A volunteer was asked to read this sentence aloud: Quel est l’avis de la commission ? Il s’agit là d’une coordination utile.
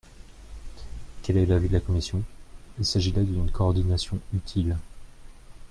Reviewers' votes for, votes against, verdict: 1, 2, rejected